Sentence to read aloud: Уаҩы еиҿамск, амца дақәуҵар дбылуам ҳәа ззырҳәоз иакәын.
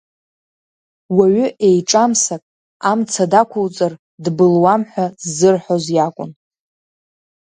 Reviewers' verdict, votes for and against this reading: rejected, 0, 2